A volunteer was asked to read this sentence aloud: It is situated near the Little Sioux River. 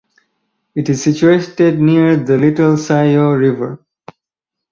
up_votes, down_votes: 2, 2